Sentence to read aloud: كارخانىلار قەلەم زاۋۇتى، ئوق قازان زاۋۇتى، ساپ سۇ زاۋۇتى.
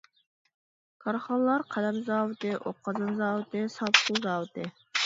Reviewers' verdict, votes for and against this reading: accepted, 2, 1